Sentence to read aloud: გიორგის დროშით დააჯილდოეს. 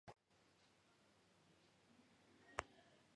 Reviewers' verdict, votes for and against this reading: rejected, 0, 2